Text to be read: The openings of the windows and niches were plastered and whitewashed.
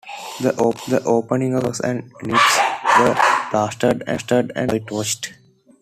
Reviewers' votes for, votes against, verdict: 0, 2, rejected